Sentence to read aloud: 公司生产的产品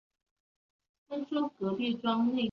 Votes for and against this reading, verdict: 1, 2, rejected